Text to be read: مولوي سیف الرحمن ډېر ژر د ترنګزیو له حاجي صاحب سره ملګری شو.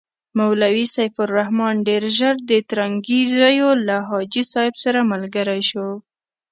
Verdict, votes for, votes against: accepted, 2, 0